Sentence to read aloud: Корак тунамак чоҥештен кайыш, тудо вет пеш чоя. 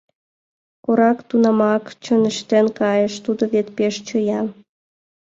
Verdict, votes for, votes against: accepted, 2, 0